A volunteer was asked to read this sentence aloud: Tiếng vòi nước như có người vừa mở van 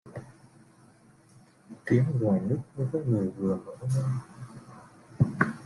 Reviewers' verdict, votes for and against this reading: rejected, 0, 2